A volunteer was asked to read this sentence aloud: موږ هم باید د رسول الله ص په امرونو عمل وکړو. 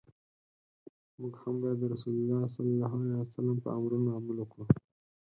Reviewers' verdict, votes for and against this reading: rejected, 2, 4